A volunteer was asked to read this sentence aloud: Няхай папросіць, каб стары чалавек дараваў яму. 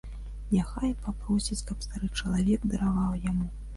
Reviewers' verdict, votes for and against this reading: accepted, 2, 0